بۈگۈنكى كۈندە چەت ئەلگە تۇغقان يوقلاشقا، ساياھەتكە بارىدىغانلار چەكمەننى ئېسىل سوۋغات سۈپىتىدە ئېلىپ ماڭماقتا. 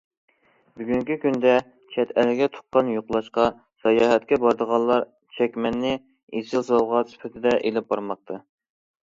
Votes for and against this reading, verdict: 0, 2, rejected